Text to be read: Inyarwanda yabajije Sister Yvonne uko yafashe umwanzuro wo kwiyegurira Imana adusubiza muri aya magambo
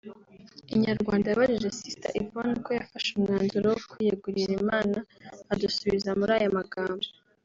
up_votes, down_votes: 2, 0